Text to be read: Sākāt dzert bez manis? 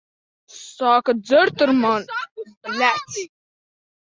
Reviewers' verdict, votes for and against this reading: rejected, 0, 2